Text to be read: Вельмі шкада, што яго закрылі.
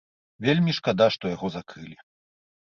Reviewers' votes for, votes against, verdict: 2, 0, accepted